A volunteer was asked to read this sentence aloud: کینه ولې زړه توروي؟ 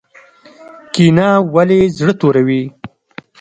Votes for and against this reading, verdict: 2, 0, accepted